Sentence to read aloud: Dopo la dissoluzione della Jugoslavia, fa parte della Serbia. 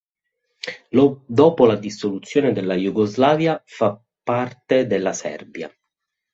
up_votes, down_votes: 0, 2